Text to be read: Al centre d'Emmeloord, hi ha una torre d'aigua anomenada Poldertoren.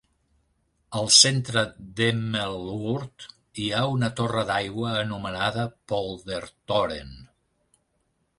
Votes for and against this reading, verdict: 1, 2, rejected